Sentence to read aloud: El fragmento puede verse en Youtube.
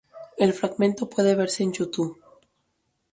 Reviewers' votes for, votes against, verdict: 2, 0, accepted